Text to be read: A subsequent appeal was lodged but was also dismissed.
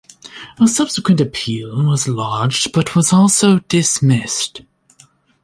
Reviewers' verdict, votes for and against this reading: accepted, 2, 1